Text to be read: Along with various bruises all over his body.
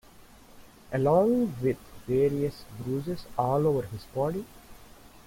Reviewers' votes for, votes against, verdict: 3, 0, accepted